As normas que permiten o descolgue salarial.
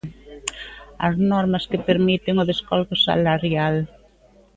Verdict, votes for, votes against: accepted, 2, 0